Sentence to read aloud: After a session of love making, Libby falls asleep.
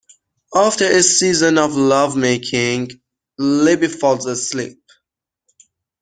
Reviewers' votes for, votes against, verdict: 0, 2, rejected